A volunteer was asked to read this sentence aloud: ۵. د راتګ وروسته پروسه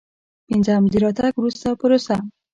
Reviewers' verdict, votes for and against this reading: rejected, 0, 2